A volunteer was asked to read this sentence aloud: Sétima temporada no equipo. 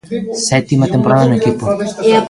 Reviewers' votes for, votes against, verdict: 0, 2, rejected